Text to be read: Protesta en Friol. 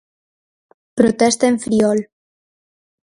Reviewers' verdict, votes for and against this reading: accepted, 4, 0